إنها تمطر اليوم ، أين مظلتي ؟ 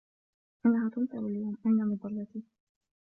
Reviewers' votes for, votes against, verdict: 1, 2, rejected